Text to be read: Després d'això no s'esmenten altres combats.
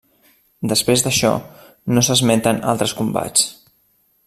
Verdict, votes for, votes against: accepted, 3, 0